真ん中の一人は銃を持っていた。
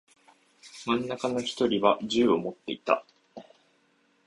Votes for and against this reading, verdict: 7, 1, accepted